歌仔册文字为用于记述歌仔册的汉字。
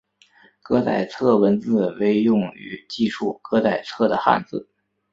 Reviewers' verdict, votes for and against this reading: accepted, 2, 0